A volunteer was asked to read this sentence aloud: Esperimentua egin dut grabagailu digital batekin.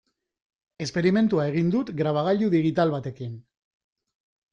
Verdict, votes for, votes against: accepted, 2, 0